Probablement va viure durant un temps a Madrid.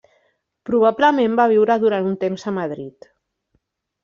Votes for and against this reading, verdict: 3, 0, accepted